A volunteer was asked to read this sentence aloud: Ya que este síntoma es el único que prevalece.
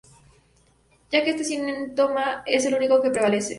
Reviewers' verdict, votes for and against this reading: rejected, 2, 2